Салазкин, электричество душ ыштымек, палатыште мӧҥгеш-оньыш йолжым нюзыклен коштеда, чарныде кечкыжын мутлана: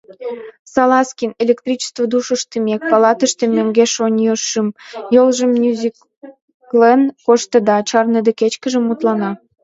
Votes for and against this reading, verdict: 2, 0, accepted